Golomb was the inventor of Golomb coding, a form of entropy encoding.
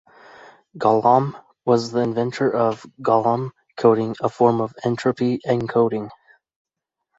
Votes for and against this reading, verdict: 2, 0, accepted